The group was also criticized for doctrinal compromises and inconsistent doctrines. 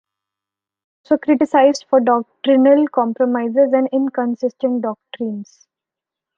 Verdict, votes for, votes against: rejected, 0, 2